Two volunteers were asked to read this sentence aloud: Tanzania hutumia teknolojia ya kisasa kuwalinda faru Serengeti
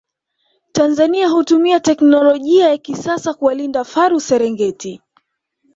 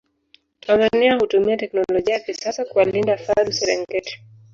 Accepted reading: first